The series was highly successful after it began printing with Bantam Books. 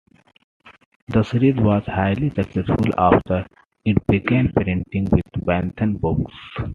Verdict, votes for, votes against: accepted, 2, 0